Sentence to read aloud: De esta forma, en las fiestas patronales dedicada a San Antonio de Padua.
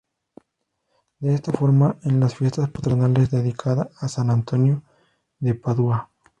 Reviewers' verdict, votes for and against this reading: rejected, 0, 2